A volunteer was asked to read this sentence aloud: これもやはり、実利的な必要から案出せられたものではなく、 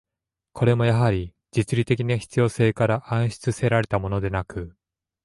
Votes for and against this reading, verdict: 9, 10, rejected